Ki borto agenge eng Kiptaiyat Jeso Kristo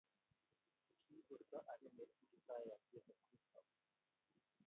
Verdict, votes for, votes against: rejected, 0, 2